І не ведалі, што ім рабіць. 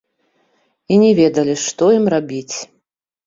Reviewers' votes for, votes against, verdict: 2, 0, accepted